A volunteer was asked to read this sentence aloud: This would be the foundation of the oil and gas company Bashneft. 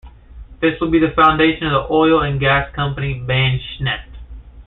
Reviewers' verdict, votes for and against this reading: accepted, 2, 0